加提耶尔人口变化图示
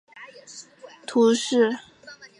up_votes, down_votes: 0, 2